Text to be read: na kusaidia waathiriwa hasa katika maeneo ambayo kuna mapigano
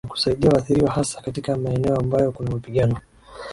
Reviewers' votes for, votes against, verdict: 2, 1, accepted